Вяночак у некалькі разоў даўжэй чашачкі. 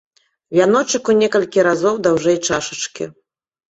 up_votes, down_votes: 2, 0